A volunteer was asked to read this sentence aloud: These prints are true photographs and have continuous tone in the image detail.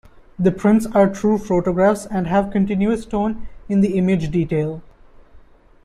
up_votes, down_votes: 1, 2